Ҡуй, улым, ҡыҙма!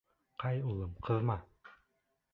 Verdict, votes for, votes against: rejected, 0, 2